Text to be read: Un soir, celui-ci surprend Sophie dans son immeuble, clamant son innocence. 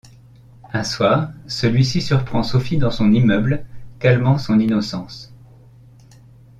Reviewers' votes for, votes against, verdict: 0, 2, rejected